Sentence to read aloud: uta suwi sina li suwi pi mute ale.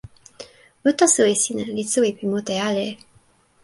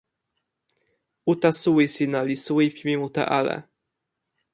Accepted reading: first